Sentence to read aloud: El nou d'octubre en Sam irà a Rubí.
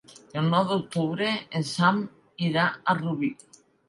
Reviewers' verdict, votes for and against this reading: accepted, 4, 0